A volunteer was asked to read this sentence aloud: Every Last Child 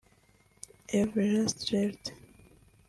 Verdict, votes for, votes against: rejected, 0, 2